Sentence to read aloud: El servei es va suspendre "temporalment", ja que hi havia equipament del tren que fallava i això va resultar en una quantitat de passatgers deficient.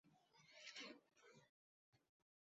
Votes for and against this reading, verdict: 0, 2, rejected